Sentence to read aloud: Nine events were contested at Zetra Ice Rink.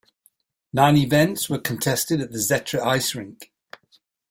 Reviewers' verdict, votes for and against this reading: accepted, 2, 1